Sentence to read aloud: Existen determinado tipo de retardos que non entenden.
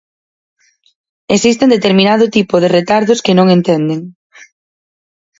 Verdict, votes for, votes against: accepted, 4, 0